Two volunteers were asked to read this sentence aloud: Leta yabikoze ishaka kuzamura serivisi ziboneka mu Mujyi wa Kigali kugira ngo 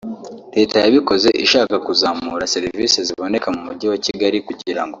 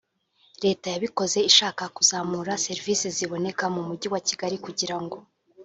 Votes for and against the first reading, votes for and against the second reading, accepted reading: 2, 1, 0, 2, first